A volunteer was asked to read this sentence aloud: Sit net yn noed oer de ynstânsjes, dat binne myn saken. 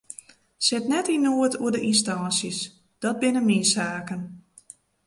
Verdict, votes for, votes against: accepted, 2, 0